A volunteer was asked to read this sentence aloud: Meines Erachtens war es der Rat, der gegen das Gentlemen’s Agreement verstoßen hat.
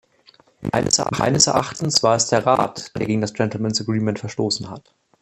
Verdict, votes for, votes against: rejected, 0, 2